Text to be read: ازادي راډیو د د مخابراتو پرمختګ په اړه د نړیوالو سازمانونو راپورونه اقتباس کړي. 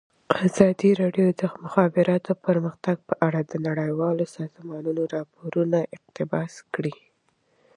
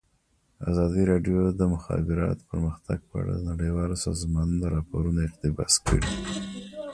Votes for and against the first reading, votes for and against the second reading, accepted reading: 2, 1, 0, 2, first